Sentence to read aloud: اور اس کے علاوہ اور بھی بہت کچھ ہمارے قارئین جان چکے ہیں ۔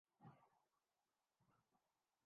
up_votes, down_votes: 0, 2